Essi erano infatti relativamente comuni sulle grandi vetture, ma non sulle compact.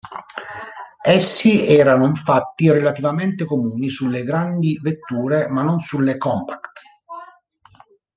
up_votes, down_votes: 2, 0